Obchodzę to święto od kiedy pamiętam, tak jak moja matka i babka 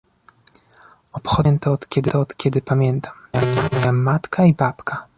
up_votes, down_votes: 0, 2